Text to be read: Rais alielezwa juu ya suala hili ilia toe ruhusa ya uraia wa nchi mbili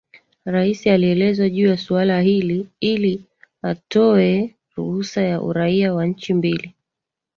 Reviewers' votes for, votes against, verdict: 3, 2, accepted